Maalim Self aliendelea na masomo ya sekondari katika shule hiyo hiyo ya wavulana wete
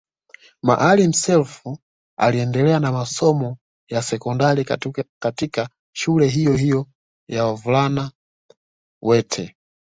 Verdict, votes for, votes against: accepted, 2, 0